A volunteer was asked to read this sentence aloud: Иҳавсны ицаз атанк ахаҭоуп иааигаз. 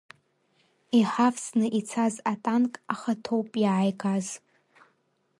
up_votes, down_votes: 2, 1